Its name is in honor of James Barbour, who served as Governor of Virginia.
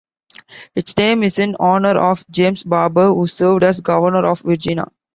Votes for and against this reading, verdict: 2, 1, accepted